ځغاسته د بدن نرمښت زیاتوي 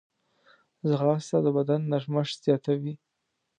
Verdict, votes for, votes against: accepted, 2, 0